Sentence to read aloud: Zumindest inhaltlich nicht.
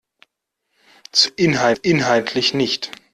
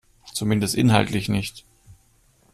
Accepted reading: second